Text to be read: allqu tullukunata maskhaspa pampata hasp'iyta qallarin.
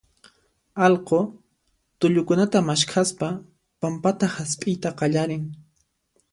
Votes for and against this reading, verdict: 2, 0, accepted